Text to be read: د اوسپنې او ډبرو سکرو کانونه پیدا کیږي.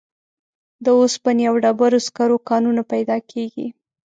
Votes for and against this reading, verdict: 1, 2, rejected